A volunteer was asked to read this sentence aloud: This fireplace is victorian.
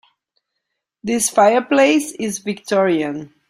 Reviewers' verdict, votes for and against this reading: accepted, 2, 0